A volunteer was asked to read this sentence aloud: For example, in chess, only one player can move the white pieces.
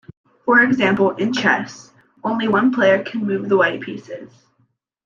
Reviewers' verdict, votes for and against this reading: accepted, 2, 0